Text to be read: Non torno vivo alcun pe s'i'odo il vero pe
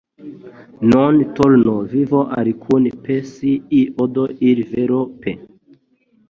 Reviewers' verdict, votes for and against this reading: rejected, 0, 2